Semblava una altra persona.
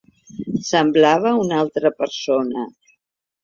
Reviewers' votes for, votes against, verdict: 3, 0, accepted